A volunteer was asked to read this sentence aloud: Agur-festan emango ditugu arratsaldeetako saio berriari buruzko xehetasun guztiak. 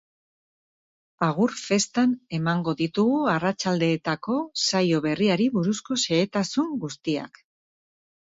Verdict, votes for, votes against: accepted, 4, 0